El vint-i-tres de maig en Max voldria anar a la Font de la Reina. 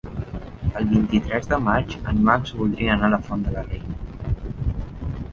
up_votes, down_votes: 4, 1